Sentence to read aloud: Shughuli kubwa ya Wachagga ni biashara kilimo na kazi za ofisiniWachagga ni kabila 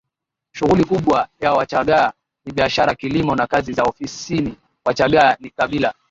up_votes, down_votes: 13, 5